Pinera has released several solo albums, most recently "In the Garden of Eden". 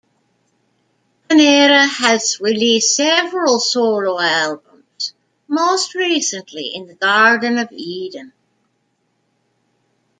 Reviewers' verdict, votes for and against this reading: rejected, 0, 2